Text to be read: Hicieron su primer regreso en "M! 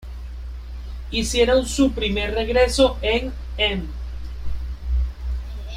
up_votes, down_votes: 0, 2